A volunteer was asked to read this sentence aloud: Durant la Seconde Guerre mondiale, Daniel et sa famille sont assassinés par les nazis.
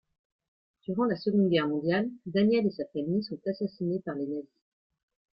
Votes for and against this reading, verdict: 1, 2, rejected